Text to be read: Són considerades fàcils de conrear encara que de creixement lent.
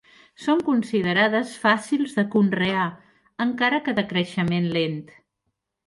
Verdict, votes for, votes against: accepted, 3, 0